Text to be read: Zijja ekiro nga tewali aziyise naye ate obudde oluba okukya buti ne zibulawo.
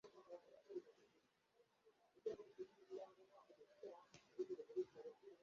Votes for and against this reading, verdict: 0, 2, rejected